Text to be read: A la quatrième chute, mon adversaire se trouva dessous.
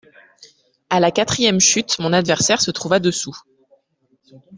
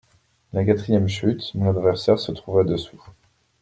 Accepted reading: first